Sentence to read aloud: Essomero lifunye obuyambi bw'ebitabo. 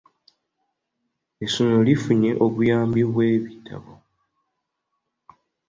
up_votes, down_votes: 2, 0